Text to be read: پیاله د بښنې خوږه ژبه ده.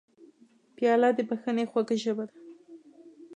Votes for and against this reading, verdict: 2, 0, accepted